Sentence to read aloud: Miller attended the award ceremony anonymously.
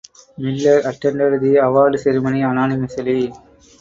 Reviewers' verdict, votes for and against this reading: accepted, 4, 0